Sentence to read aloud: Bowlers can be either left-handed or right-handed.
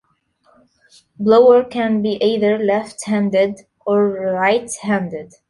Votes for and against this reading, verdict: 1, 2, rejected